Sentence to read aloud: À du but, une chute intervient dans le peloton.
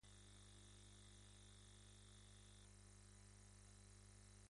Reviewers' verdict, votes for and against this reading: rejected, 0, 2